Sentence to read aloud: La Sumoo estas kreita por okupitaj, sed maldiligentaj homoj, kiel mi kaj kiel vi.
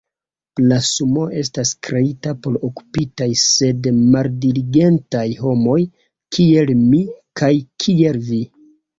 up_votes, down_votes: 1, 2